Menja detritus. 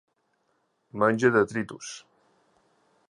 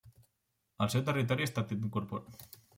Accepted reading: first